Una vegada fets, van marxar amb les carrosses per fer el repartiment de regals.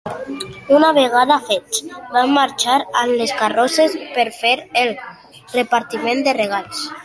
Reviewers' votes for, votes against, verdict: 2, 0, accepted